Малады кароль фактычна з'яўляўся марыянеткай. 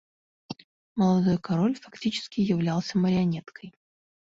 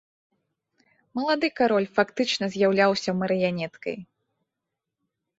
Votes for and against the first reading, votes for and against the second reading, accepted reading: 0, 2, 2, 0, second